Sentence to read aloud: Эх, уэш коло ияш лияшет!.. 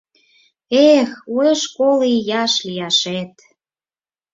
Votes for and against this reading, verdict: 4, 0, accepted